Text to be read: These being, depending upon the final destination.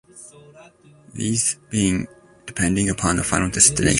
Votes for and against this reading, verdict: 1, 2, rejected